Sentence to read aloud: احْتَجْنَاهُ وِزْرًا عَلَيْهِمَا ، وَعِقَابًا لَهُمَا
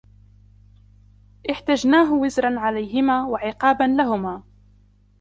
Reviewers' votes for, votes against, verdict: 1, 2, rejected